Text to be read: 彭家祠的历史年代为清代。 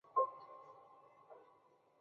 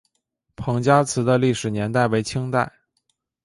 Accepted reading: second